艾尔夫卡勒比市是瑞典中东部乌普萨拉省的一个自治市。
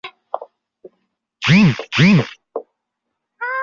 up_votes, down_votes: 0, 2